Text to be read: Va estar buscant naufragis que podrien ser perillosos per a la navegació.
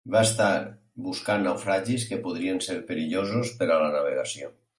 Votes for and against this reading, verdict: 6, 0, accepted